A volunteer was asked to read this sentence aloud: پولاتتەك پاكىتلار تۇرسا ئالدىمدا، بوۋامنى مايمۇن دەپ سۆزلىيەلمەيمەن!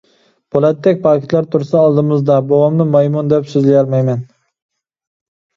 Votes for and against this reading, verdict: 0, 2, rejected